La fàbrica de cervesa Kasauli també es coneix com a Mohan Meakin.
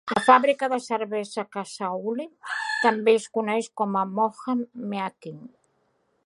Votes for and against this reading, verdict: 0, 2, rejected